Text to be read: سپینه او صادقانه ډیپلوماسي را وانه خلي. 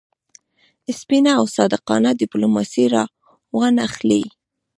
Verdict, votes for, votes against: accepted, 2, 1